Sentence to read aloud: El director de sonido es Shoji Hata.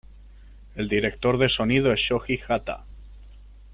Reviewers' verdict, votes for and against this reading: accepted, 2, 0